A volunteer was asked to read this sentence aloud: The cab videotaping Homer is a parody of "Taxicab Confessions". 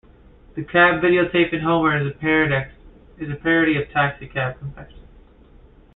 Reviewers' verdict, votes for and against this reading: accepted, 2, 1